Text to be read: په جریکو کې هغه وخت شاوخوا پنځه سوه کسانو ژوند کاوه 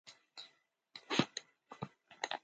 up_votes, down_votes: 0, 2